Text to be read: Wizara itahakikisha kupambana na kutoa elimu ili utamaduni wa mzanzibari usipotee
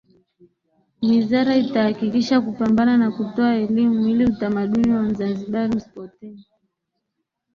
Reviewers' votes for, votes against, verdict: 2, 0, accepted